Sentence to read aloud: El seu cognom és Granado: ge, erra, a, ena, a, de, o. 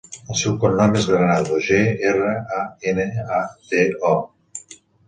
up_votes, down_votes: 2, 1